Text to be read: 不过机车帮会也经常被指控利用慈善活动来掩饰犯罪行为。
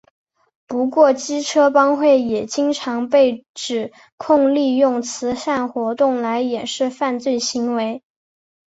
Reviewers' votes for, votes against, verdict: 1, 2, rejected